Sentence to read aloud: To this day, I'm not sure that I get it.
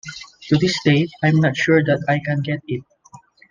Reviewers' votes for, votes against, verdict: 0, 2, rejected